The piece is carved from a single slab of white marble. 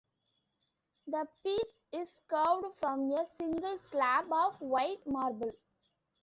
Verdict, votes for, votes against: accepted, 2, 1